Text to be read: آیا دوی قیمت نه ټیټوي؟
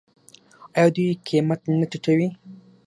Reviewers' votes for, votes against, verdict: 6, 0, accepted